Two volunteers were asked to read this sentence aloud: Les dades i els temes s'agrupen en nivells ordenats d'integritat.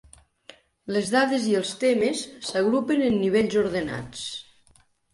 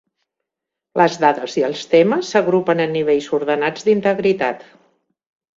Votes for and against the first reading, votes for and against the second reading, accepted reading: 0, 3, 6, 0, second